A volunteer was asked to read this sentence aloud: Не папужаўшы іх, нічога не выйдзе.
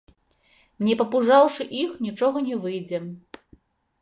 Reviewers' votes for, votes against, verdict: 2, 0, accepted